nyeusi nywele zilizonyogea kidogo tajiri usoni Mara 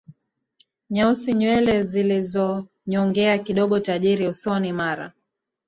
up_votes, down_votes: 4, 5